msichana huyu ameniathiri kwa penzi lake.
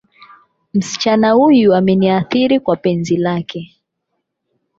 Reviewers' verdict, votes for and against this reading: accepted, 8, 0